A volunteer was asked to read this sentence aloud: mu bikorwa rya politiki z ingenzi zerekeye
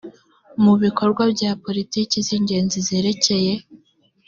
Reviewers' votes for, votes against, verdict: 2, 0, accepted